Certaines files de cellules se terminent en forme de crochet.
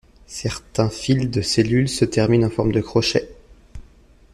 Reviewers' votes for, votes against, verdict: 1, 2, rejected